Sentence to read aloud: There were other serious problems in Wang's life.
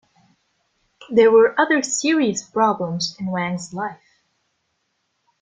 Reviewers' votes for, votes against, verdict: 2, 0, accepted